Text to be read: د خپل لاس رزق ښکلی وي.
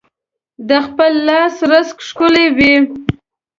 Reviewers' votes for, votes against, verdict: 2, 1, accepted